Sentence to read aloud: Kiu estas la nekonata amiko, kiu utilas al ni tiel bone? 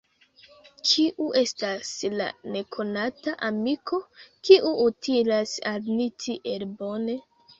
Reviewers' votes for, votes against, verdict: 1, 2, rejected